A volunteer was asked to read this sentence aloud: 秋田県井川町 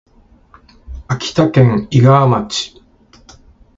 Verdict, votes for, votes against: rejected, 1, 2